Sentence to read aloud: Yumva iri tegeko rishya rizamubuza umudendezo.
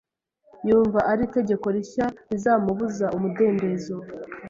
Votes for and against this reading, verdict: 1, 2, rejected